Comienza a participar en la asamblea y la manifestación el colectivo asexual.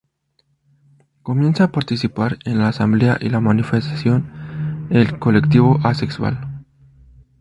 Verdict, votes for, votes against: accepted, 4, 0